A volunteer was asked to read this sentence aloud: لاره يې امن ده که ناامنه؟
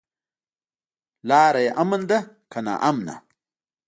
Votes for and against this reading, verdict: 2, 0, accepted